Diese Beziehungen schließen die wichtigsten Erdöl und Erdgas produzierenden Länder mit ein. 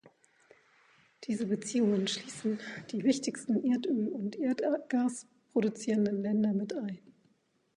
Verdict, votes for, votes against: rejected, 1, 2